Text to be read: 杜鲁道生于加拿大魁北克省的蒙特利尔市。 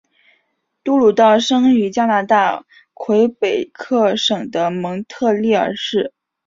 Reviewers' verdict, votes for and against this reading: accepted, 7, 0